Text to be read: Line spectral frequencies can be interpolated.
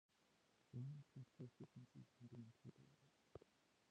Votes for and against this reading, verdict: 0, 2, rejected